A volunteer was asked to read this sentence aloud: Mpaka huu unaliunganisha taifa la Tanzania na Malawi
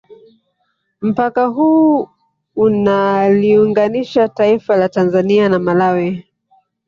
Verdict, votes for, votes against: accepted, 2, 1